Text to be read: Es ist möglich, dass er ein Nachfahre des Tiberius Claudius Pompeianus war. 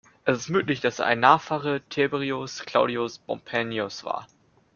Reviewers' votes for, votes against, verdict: 1, 2, rejected